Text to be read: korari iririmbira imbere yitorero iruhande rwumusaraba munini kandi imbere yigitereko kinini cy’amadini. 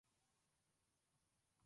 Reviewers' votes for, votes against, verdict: 0, 2, rejected